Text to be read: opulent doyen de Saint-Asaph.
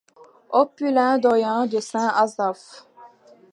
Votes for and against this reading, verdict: 2, 0, accepted